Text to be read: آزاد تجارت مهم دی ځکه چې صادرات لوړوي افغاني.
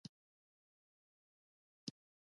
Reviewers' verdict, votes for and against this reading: rejected, 1, 2